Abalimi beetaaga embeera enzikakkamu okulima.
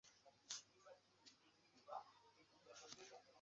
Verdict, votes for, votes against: rejected, 0, 2